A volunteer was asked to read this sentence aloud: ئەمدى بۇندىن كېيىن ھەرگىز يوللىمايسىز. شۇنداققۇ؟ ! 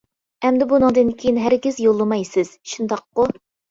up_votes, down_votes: 0, 2